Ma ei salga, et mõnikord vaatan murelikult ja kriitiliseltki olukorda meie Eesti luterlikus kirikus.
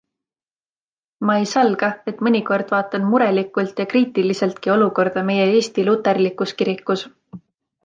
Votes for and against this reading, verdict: 2, 0, accepted